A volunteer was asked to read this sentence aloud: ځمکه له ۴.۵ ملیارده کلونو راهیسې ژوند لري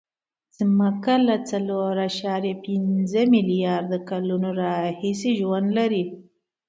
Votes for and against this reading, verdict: 0, 2, rejected